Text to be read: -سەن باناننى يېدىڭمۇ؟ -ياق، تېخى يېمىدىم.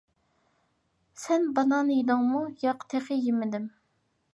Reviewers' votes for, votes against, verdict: 1, 2, rejected